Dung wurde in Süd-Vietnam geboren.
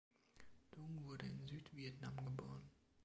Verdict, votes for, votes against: accepted, 3, 2